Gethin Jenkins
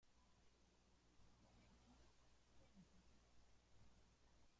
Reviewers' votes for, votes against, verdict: 0, 2, rejected